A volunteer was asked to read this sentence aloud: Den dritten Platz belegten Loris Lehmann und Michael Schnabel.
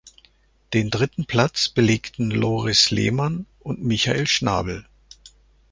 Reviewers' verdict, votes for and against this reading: accepted, 2, 0